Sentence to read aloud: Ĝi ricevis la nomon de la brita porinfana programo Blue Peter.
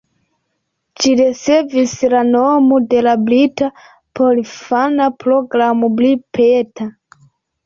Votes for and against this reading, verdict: 2, 0, accepted